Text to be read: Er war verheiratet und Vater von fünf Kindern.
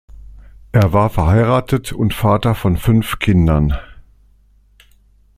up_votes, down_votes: 2, 0